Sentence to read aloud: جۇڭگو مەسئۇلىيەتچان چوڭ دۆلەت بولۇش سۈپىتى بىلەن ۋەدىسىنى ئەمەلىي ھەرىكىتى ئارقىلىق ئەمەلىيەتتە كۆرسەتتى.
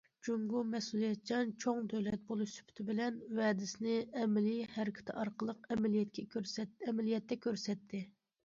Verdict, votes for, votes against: rejected, 1, 2